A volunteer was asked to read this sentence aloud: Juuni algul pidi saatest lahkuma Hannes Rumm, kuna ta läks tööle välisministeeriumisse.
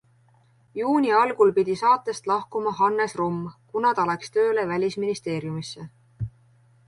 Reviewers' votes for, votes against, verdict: 3, 0, accepted